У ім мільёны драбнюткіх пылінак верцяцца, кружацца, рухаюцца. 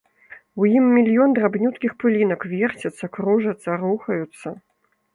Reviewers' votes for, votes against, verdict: 1, 2, rejected